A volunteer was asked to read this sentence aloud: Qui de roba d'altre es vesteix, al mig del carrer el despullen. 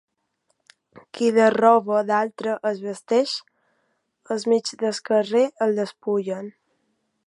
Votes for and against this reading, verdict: 0, 2, rejected